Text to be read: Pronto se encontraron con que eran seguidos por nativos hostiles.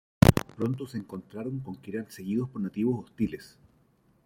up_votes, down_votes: 1, 2